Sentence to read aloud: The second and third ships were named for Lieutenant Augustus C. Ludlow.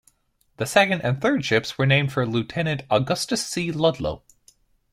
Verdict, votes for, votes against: accepted, 2, 0